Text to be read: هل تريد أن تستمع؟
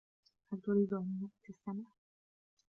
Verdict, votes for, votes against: rejected, 0, 2